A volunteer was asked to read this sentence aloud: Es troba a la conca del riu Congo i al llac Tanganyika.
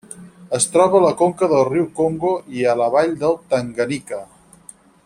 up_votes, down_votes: 0, 4